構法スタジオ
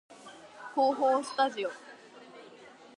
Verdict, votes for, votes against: accepted, 3, 0